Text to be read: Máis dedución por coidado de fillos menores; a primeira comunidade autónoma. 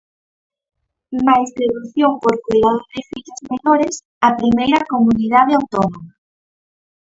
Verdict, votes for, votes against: rejected, 0, 4